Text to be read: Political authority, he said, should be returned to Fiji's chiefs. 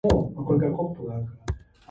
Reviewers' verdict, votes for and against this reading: rejected, 0, 2